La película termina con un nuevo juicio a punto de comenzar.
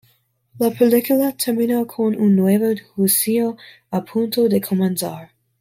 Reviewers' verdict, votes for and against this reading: accepted, 2, 0